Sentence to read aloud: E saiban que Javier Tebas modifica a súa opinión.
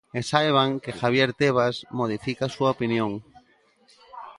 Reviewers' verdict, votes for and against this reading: accepted, 2, 0